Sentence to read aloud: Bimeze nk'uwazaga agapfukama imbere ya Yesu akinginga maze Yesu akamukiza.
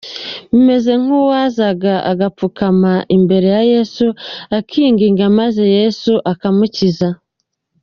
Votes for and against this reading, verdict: 3, 2, accepted